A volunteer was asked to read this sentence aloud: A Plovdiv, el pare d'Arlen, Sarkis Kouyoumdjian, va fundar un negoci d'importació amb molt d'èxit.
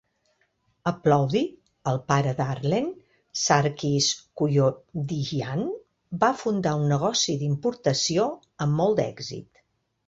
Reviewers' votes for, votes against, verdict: 2, 0, accepted